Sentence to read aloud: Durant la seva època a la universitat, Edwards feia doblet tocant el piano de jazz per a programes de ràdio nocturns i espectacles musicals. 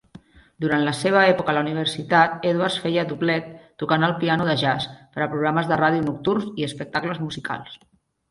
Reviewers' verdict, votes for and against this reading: accepted, 2, 0